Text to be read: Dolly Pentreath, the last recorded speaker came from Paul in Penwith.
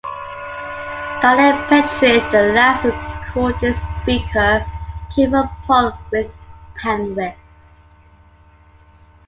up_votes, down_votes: 1, 2